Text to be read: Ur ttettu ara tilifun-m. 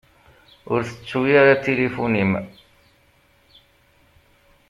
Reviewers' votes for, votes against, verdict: 1, 2, rejected